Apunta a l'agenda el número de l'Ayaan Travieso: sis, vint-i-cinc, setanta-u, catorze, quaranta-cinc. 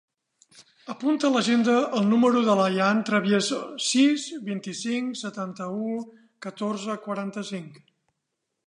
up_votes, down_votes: 2, 0